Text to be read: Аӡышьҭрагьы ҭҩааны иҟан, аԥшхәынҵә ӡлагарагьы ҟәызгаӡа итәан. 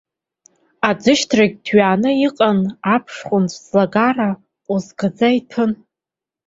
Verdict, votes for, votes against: rejected, 0, 4